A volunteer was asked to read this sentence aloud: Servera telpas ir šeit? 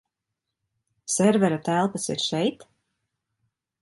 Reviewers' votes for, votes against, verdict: 2, 0, accepted